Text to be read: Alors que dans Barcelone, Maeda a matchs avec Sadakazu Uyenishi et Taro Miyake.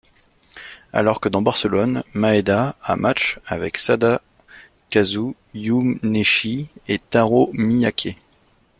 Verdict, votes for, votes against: rejected, 1, 2